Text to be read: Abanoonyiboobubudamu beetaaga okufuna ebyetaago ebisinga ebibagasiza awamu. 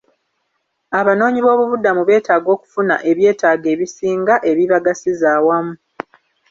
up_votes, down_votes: 0, 2